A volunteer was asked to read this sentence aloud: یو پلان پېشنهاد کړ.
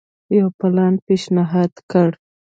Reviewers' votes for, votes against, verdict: 0, 2, rejected